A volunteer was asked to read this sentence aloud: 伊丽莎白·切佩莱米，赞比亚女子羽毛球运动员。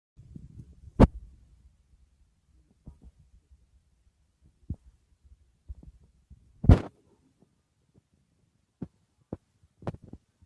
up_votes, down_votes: 1, 2